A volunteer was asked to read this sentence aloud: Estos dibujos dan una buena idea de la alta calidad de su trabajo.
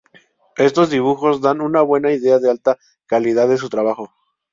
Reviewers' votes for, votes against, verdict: 0, 2, rejected